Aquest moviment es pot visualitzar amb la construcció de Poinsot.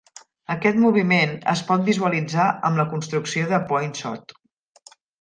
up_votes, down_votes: 3, 0